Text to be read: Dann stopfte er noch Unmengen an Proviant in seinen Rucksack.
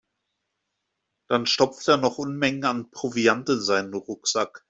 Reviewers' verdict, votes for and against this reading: rejected, 1, 2